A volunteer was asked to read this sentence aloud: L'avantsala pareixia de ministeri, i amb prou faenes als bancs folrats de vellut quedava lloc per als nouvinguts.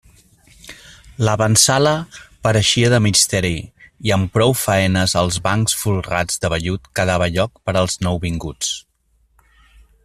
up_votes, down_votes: 1, 2